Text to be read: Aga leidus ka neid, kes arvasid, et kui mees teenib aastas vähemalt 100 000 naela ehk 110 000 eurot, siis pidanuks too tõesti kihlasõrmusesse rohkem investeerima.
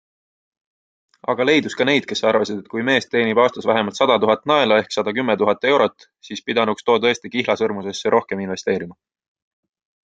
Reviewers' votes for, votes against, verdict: 0, 2, rejected